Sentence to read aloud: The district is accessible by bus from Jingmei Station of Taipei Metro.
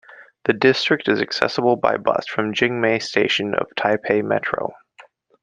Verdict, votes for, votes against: accepted, 2, 0